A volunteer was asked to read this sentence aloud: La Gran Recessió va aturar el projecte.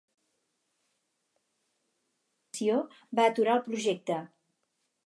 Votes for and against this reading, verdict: 0, 6, rejected